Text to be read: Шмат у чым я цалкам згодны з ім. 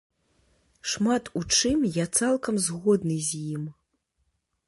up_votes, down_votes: 2, 0